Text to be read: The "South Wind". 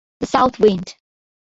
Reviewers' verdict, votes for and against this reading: accepted, 2, 1